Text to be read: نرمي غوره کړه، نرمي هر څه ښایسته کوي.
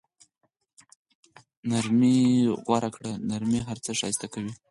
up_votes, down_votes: 2, 4